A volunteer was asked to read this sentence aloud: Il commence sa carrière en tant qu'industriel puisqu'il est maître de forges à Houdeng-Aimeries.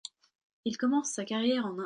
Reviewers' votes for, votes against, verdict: 0, 2, rejected